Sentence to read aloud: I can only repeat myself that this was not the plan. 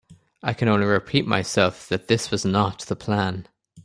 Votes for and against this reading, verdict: 2, 0, accepted